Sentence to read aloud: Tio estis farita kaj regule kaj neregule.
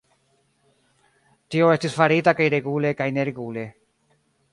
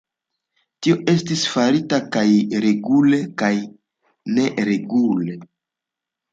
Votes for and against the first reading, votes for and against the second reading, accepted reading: 1, 2, 2, 0, second